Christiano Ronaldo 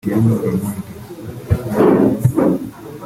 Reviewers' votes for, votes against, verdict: 0, 2, rejected